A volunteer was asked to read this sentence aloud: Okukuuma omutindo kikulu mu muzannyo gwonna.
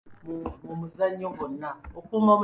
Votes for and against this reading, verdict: 0, 2, rejected